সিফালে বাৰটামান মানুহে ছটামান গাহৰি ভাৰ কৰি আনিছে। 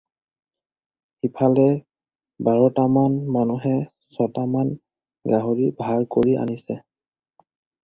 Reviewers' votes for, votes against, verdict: 2, 2, rejected